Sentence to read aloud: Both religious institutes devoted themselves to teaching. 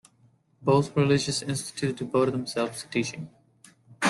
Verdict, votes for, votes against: accepted, 2, 0